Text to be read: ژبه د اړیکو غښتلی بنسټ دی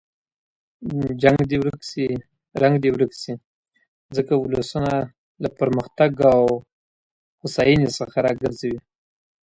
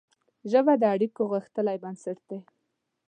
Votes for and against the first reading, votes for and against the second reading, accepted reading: 0, 2, 2, 0, second